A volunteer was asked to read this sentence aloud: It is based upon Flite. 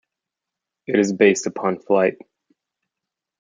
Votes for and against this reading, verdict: 2, 0, accepted